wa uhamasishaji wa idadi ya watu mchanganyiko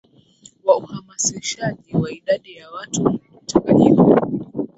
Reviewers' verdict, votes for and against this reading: accepted, 12, 2